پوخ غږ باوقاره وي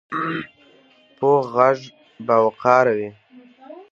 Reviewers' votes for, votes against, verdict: 2, 0, accepted